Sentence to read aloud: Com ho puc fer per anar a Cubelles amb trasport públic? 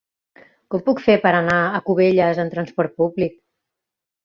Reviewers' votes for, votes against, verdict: 1, 2, rejected